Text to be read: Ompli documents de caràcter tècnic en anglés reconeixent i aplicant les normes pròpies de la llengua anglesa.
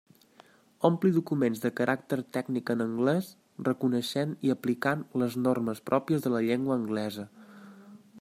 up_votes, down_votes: 3, 1